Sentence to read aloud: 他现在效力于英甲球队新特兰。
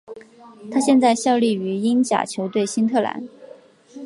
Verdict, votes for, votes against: accepted, 2, 0